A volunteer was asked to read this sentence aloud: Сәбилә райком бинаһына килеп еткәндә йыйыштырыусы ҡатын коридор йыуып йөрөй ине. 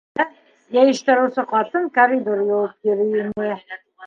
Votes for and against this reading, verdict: 0, 2, rejected